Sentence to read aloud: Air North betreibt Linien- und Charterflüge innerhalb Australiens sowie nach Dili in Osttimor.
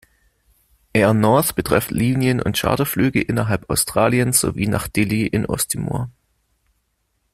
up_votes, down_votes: 1, 2